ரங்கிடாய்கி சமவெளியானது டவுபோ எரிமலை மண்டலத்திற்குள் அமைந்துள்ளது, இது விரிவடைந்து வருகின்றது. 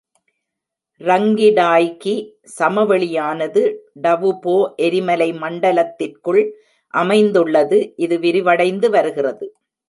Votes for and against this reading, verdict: 0, 2, rejected